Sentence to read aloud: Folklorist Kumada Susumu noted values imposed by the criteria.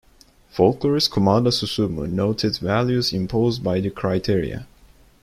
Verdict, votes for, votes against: rejected, 1, 2